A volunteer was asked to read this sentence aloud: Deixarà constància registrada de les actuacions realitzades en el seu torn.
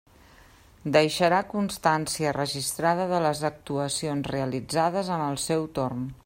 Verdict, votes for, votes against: accepted, 3, 0